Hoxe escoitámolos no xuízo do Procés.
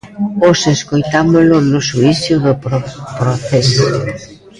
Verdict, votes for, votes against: rejected, 1, 2